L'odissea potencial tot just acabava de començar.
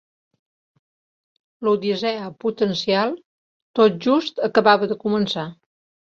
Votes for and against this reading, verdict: 3, 1, accepted